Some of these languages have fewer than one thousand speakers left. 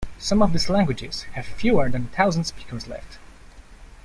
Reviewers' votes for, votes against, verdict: 1, 2, rejected